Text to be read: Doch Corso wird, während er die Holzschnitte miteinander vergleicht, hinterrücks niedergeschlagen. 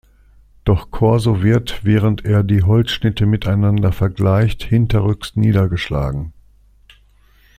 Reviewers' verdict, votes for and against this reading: accepted, 2, 0